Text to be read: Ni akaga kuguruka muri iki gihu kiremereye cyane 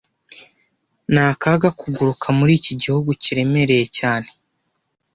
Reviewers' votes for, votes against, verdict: 1, 2, rejected